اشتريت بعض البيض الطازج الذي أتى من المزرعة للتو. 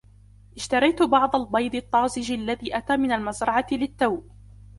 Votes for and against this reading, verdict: 2, 0, accepted